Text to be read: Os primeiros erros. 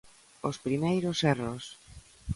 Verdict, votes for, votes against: accepted, 2, 0